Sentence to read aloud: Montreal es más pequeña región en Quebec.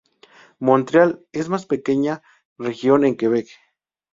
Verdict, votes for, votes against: rejected, 0, 2